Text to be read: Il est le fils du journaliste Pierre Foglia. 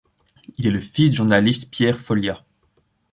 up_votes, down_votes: 1, 2